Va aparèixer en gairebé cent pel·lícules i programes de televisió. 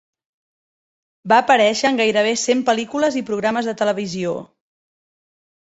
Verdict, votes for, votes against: accepted, 5, 0